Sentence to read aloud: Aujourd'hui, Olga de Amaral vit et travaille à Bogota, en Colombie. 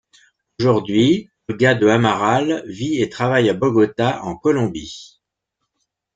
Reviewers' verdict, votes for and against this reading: rejected, 0, 2